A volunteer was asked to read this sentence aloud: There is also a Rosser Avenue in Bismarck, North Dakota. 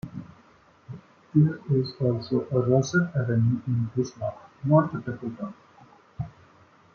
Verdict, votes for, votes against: rejected, 0, 2